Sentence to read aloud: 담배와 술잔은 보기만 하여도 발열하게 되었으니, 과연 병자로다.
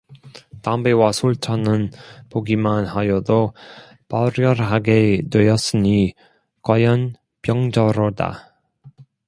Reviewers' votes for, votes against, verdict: 0, 2, rejected